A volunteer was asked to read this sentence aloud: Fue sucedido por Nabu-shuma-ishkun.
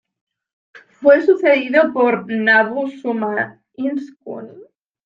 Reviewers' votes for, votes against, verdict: 1, 2, rejected